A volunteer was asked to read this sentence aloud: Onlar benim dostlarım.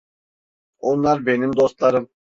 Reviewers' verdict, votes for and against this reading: accepted, 2, 0